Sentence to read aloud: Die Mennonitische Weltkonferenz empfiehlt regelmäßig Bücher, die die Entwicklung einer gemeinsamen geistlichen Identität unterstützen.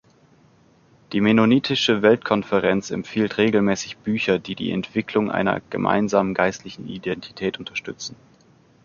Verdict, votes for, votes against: accepted, 2, 0